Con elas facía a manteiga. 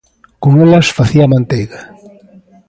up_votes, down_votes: 2, 0